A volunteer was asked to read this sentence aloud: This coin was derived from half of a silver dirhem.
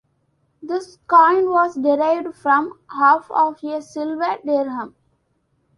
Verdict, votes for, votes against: accepted, 2, 1